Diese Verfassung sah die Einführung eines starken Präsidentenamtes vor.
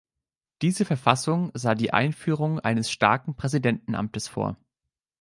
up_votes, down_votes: 2, 0